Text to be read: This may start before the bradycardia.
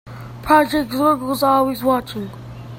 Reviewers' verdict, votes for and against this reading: rejected, 0, 2